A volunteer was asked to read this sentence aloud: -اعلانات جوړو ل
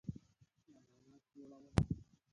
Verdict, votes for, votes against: rejected, 0, 2